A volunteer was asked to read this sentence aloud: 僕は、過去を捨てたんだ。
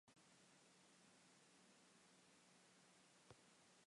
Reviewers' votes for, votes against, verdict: 0, 2, rejected